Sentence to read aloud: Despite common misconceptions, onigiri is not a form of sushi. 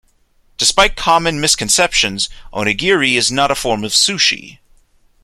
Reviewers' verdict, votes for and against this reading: accepted, 2, 0